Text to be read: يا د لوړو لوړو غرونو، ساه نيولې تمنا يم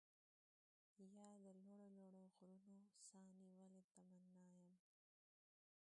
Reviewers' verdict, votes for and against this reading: rejected, 0, 2